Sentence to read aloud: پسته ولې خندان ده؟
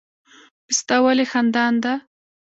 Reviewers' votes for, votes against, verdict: 1, 2, rejected